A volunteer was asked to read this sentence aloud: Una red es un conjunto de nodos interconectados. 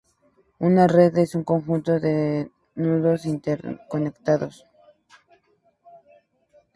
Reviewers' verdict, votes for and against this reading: accepted, 2, 0